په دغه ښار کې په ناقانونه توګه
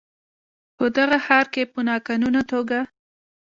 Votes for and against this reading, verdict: 2, 1, accepted